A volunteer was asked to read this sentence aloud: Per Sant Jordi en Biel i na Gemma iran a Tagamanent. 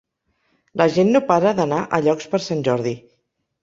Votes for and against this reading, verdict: 0, 2, rejected